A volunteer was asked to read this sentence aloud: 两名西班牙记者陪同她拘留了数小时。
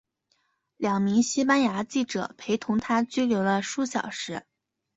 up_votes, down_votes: 2, 0